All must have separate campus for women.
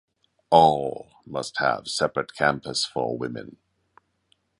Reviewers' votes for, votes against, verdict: 2, 0, accepted